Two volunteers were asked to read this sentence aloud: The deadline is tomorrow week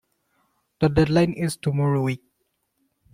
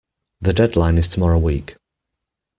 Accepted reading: second